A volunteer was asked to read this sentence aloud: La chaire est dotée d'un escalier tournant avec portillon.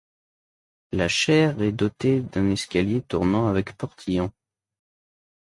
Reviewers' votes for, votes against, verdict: 2, 0, accepted